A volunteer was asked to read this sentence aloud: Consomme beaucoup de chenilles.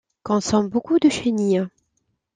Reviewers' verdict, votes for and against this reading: accepted, 2, 0